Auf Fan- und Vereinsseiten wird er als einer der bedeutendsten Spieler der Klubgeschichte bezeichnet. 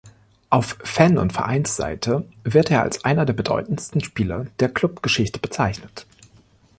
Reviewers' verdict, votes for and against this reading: rejected, 1, 2